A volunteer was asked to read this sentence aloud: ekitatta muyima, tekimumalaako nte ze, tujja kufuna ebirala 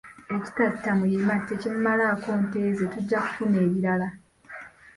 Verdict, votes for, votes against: accepted, 2, 0